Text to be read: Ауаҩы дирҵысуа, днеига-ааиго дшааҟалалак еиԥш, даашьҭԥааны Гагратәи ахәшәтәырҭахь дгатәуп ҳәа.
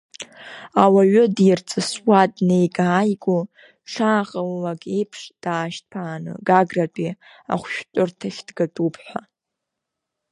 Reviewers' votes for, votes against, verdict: 2, 0, accepted